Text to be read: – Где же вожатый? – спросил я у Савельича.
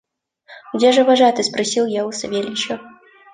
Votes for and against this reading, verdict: 2, 0, accepted